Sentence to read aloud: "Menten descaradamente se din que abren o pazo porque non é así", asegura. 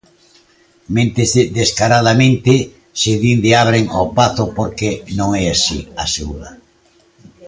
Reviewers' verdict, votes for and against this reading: rejected, 0, 2